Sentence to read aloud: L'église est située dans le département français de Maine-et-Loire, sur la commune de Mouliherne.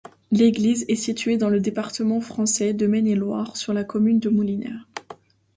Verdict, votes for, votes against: accepted, 2, 0